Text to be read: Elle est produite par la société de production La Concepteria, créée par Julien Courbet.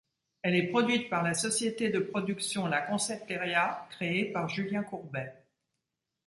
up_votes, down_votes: 1, 2